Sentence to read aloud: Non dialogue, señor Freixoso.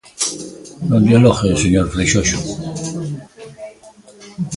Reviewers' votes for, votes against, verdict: 1, 2, rejected